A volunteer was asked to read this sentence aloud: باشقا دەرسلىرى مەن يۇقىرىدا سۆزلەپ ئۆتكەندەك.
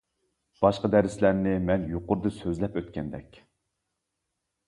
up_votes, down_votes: 0, 2